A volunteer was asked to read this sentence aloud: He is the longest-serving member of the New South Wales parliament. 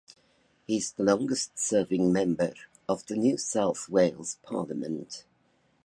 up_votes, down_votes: 2, 0